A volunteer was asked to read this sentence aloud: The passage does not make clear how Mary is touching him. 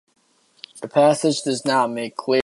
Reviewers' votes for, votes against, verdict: 0, 2, rejected